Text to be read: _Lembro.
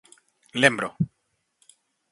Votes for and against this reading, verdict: 4, 0, accepted